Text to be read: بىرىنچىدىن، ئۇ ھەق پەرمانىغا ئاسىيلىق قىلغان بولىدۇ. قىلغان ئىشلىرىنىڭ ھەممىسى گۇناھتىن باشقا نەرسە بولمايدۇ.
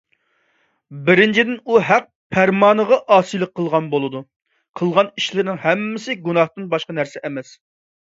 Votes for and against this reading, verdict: 0, 2, rejected